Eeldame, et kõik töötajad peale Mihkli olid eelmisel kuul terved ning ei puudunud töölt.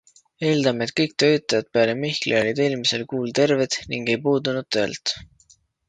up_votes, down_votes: 2, 0